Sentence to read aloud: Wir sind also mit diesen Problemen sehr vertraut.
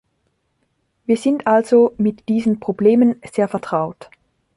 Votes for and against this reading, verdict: 1, 2, rejected